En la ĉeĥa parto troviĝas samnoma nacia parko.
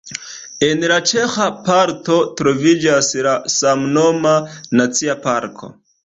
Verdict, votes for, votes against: accepted, 2, 0